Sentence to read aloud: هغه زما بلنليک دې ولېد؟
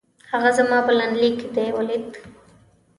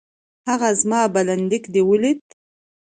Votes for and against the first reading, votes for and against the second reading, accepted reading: 0, 2, 2, 0, second